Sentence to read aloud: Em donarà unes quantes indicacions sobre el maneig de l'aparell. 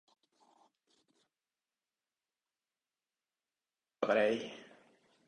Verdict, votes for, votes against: rejected, 0, 2